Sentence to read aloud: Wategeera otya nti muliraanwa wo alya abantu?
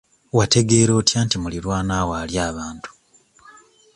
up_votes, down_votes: 2, 0